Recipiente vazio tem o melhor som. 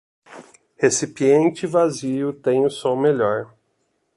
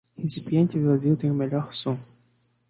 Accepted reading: second